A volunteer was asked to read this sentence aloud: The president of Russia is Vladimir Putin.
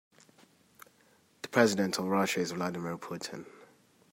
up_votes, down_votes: 2, 0